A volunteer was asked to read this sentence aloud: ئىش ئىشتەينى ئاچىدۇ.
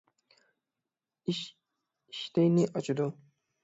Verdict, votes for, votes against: rejected, 0, 6